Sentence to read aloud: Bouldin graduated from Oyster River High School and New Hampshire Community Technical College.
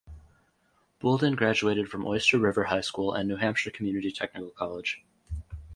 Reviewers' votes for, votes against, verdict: 2, 0, accepted